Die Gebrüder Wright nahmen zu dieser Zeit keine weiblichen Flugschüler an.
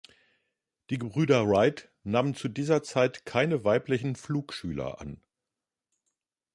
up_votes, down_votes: 2, 0